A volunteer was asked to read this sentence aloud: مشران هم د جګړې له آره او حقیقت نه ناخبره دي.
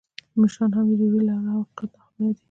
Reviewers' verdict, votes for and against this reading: accepted, 2, 0